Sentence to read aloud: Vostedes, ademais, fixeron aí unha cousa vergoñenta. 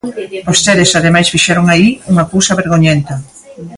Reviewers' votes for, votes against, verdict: 0, 2, rejected